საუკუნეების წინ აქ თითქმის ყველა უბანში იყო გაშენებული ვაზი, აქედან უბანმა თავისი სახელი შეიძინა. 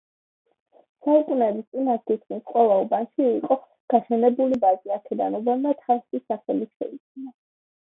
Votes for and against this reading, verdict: 0, 2, rejected